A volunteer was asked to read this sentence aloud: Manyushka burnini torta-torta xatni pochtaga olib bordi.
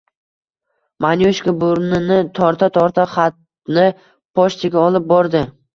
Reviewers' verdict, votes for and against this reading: accepted, 2, 0